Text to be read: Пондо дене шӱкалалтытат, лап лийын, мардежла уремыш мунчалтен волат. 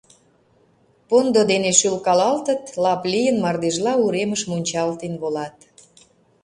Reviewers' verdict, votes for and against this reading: rejected, 0, 2